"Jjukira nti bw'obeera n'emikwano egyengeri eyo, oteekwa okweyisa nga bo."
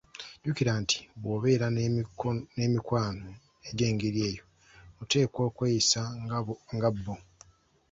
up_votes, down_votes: 2, 0